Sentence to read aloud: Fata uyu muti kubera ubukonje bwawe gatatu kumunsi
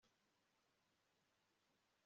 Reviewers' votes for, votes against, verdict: 0, 2, rejected